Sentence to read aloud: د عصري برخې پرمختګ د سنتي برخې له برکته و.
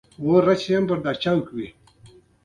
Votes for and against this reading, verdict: 1, 2, rejected